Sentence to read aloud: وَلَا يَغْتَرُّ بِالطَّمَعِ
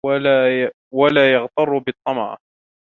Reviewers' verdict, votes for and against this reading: rejected, 0, 2